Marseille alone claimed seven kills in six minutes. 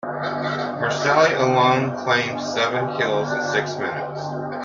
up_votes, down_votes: 2, 1